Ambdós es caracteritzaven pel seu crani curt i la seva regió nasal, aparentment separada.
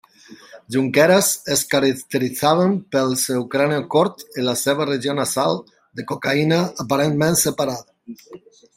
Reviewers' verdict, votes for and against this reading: rejected, 0, 2